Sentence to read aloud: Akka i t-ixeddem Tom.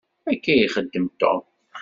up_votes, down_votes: 1, 2